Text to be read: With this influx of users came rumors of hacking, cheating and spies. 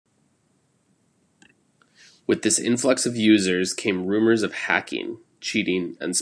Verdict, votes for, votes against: rejected, 0, 2